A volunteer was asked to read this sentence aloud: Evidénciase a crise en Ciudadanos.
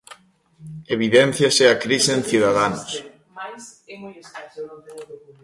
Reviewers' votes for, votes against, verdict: 1, 2, rejected